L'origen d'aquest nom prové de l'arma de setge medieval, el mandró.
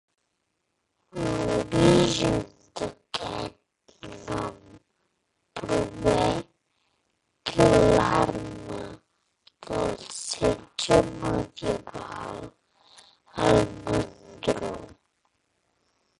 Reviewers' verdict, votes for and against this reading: rejected, 0, 2